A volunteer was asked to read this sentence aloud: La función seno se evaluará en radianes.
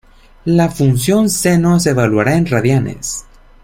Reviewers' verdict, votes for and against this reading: accepted, 2, 0